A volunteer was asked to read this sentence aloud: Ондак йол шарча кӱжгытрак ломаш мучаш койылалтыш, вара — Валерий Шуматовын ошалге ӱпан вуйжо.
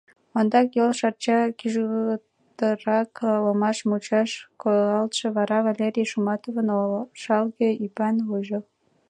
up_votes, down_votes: 0, 2